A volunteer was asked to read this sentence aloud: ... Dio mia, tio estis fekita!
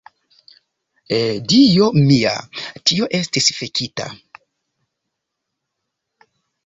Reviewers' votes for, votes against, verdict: 1, 2, rejected